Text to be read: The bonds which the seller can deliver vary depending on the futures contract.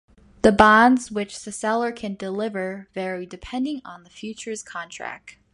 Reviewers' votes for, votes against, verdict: 2, 0, accepted